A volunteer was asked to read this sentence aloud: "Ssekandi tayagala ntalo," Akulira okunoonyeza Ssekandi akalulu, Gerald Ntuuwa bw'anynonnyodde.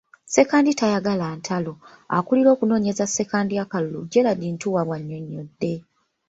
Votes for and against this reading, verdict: 2, 0, accepted